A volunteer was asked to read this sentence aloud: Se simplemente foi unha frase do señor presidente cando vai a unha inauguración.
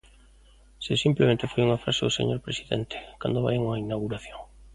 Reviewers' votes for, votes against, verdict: 2, 0, accepted